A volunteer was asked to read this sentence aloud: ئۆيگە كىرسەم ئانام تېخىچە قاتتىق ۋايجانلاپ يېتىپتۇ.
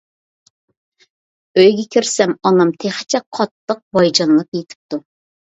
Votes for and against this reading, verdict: 2, 0, accepted